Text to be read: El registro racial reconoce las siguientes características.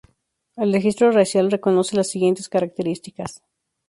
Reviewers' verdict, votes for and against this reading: accepted, 4, 0